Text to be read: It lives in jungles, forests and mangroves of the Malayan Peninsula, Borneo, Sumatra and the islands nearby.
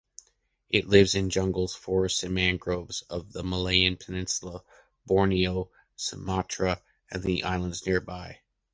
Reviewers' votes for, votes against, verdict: 2, 0, accepted